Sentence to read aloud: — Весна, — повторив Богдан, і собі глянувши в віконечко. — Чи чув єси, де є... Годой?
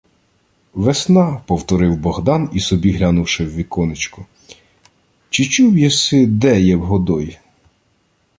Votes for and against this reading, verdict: 1, 2, rejected